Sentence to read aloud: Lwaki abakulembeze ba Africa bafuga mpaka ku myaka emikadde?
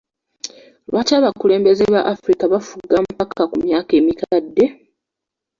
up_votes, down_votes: 1, 2